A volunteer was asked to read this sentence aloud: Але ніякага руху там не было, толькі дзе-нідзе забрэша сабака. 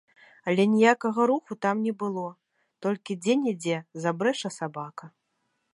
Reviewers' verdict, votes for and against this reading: accepted, 2, 0